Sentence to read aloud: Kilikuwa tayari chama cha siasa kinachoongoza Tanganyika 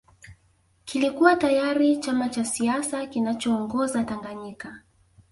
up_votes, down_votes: 2, 0